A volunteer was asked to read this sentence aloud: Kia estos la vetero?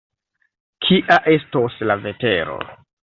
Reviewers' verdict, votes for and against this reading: rejected, 1, 2